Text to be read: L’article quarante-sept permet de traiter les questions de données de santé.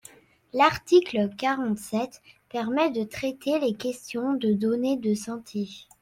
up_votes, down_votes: 2, 0